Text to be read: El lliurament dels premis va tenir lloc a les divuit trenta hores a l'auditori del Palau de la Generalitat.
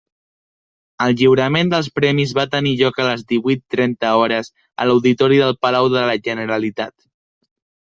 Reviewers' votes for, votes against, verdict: 1, 2, rejected